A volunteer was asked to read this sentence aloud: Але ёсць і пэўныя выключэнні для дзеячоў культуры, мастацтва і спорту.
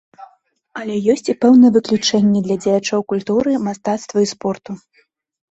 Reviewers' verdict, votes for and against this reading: accepted, 2, 0